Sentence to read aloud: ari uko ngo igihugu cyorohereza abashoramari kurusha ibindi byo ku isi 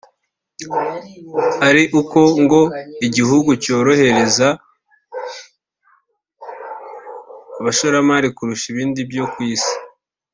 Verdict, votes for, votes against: rejected, 1, 2